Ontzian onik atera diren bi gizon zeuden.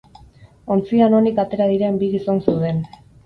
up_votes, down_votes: 8, 0